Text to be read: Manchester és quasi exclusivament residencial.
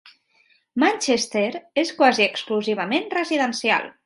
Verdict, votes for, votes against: accepted, 3, 0